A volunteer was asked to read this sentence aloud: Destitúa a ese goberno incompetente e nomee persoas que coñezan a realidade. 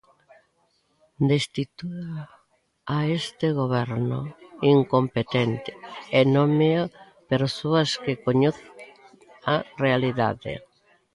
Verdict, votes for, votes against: rejected, 0, 2